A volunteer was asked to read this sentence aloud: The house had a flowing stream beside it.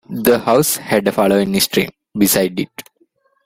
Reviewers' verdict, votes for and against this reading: rejected, 0, 2